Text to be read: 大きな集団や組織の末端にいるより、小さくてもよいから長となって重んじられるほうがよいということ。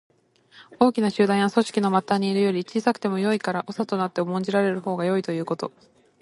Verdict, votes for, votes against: accepted, 2, 0